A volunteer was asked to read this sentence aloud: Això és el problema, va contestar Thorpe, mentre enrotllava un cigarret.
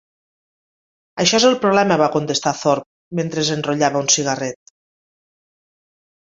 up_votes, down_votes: 1, 3